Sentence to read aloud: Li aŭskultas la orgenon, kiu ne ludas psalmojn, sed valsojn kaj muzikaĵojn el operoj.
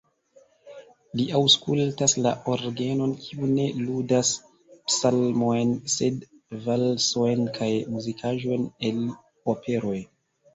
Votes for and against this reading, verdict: 0, 2, rejected